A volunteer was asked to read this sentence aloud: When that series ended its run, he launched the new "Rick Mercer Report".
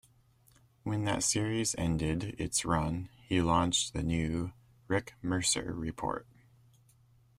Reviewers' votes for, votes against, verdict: 2, 0, accepted